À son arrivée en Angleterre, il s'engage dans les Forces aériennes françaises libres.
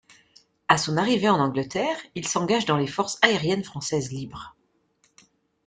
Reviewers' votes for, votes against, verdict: 2, 0, accepted